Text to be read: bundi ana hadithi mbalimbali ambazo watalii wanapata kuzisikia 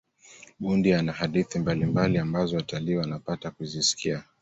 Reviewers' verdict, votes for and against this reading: accepted, 2, 0